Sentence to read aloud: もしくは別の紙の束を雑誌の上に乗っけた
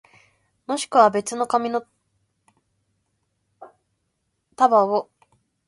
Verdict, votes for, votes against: rejected, 0, 2